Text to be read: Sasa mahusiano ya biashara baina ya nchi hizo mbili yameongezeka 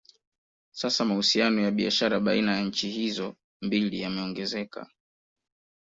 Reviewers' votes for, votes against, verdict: 2, 0, accepted